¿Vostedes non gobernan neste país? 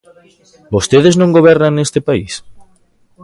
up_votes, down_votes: 0, 2